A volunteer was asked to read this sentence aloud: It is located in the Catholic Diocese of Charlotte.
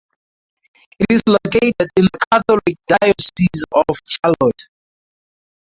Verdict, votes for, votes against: rejected, 2, 2